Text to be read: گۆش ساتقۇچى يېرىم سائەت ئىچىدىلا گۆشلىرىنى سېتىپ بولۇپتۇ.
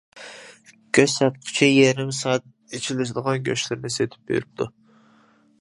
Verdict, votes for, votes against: rejected, 0, 2